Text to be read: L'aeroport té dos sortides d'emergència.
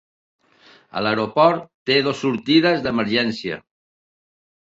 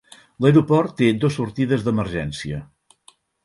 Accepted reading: second